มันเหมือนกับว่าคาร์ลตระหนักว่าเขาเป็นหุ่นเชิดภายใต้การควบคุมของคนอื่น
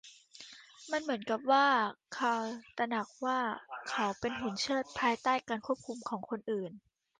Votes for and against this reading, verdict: 2, 1, accepted